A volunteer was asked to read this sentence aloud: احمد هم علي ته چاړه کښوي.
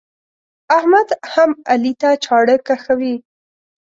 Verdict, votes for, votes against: accepted, 2, 0